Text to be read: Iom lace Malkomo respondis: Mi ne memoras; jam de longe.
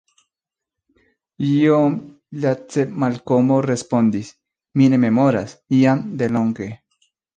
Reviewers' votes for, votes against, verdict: 2, 0, accepted